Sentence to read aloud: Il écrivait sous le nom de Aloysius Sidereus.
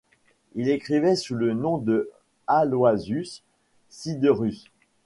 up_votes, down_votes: 0, 2